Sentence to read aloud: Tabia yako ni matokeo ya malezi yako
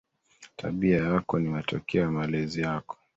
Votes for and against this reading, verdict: 2, 1, accepted